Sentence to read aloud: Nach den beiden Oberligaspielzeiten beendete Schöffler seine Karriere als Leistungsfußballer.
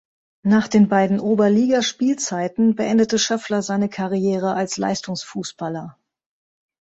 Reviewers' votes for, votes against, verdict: 2, 0, accepted